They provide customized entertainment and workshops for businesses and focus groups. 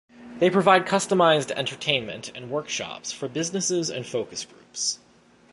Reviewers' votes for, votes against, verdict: 2, 0, accepted